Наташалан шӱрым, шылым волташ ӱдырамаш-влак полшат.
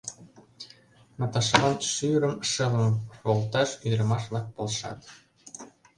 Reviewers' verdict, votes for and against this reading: accepted, 2, 0